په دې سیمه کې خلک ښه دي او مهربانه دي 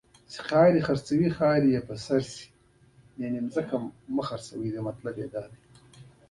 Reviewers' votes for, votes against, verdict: 0, 2, rejected